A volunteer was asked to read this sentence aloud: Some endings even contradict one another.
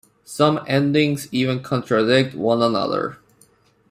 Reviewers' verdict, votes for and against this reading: accepted, 2, 0